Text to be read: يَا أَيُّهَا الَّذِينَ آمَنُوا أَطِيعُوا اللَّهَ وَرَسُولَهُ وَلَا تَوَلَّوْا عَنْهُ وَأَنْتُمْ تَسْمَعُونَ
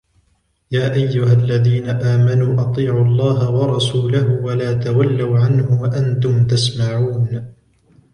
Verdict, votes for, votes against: rejected, 1, 2